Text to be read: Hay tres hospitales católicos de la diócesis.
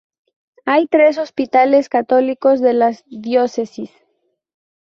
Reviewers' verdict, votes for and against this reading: rejected, 0, 2